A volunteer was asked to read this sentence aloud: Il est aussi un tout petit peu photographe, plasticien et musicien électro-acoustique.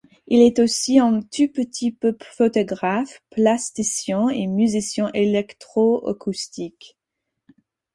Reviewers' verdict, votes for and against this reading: accepted, 4, 0